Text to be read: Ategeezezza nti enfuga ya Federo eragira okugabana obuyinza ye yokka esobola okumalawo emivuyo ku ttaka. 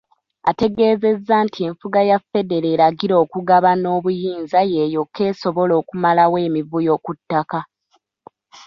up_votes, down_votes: 2, 1